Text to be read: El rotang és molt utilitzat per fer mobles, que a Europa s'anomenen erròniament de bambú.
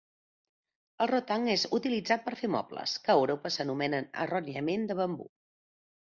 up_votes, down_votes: 0, 2